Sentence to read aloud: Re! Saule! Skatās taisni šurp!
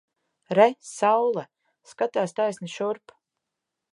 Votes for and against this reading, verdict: 2, 0, accepted